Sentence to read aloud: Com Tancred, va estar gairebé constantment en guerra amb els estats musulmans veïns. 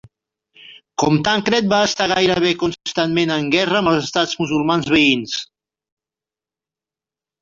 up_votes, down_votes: 1, 2